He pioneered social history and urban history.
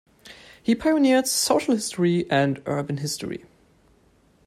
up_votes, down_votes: 2, 0